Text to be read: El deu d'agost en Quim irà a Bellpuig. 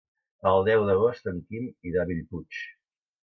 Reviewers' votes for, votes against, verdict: 2, 0, accepted